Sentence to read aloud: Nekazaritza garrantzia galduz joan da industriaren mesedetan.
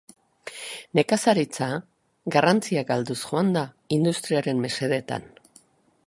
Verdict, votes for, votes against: accepted, 3, 0